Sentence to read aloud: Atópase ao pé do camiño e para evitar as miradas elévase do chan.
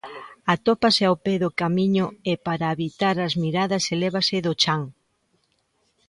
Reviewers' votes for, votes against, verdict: 2, 1, accepted